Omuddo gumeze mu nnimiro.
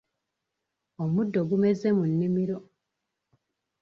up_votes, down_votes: 2, 0